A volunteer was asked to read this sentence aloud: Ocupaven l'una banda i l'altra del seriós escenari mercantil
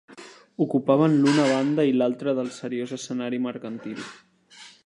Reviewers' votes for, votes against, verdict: 3, 0, accepted